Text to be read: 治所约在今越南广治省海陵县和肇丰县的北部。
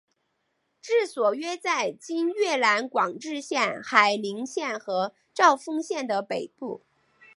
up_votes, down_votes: 0, 3